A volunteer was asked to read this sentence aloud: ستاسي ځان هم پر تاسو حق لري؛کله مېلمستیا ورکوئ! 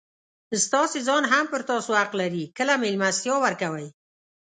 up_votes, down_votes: 2, 0